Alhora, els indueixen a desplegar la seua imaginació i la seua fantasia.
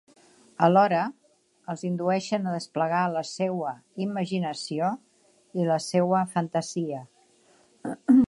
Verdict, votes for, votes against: accepted, 3, 0